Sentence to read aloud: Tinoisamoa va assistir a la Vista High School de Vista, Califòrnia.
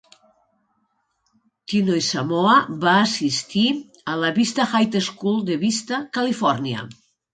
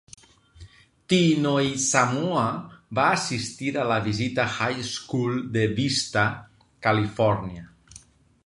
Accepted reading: first